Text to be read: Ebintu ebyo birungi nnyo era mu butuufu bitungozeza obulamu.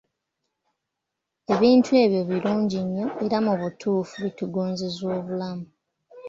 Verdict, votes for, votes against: accepted, 2, 0